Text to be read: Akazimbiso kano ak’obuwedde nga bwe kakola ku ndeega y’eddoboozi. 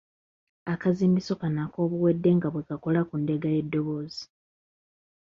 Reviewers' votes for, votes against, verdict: 3, 0, accepted